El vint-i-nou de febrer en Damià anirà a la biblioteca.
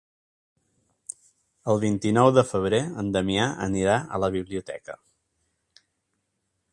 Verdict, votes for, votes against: accepted, 3, 0